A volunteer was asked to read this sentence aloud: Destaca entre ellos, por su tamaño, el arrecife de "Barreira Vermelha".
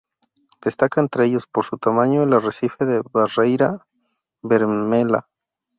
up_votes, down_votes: 2, 0